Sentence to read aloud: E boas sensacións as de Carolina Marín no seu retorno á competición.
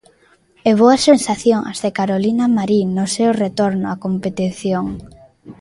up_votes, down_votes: 0, 2